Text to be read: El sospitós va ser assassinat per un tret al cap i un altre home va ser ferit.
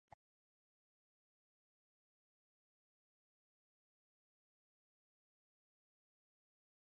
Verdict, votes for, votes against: rejected, 0, 2